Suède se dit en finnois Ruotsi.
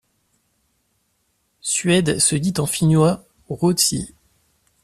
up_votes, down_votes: 2, 0